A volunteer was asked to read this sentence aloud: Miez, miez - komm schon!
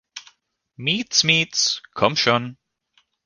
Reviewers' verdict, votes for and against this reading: accepted, 2, 0